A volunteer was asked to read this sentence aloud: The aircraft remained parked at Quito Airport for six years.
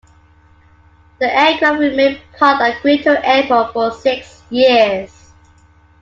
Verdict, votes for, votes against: rejected, 1, 2